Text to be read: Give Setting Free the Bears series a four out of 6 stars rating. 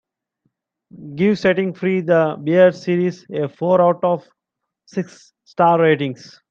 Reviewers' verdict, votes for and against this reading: rejected, 0, 2